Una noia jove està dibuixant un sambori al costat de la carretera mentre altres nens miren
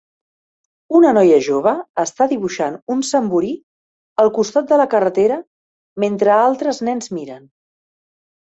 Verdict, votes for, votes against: rejected, 0, 2